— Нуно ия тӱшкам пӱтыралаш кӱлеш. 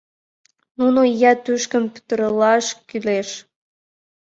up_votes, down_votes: 1, 5